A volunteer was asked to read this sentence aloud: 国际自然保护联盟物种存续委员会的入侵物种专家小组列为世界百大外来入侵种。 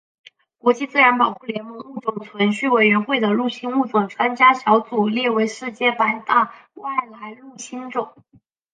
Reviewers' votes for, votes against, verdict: 3, 0, accepted